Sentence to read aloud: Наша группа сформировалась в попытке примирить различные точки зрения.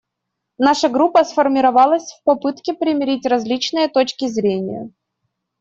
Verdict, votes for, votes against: accepted, 2, 0